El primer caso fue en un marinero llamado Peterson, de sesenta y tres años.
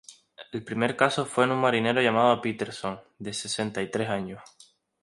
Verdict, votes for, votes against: accepted, 2, 0